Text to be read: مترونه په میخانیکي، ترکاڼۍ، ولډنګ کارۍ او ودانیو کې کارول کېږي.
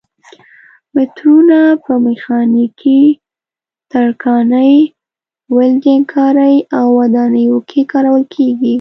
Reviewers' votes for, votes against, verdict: 2, 0, accepted